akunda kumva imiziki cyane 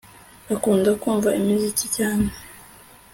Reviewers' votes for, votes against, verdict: 2, 0, accepted